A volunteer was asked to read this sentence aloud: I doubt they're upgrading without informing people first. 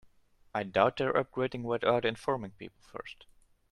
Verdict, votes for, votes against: accepted, 2, 1